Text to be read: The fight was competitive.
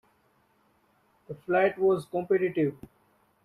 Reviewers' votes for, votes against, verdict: 0, 2, rejected